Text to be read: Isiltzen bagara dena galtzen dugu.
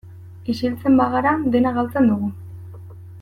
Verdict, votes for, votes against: accepted, 2, 0